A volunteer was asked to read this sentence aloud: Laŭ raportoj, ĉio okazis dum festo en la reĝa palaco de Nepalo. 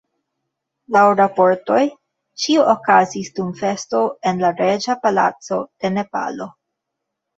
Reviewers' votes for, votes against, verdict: 2, 1, accepted